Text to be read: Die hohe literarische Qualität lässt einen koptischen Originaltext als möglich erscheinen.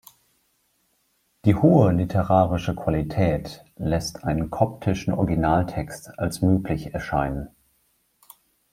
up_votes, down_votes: 2, 0